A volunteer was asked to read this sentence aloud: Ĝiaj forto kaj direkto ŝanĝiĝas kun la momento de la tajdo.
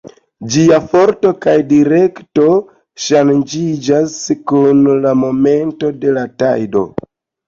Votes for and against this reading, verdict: 2, 0, accepted